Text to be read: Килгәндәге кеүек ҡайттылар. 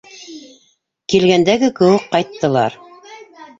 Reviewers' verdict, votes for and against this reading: rejected, 1, 2